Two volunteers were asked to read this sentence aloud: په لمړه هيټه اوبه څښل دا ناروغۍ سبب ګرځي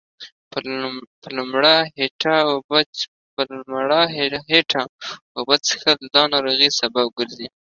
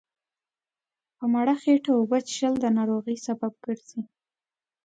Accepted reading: second